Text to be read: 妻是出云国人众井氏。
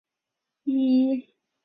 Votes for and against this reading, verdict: 0, 2, rejected